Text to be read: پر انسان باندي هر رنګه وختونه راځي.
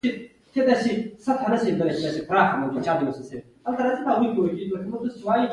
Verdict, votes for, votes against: rejected, 1, 2